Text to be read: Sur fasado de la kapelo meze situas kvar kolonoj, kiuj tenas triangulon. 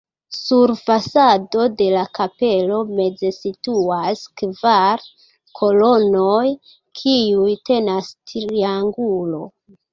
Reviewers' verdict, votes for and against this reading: rejected, 0, 3